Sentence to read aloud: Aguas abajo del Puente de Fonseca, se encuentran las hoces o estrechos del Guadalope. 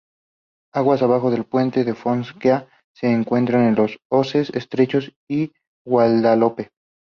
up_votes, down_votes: 2, 0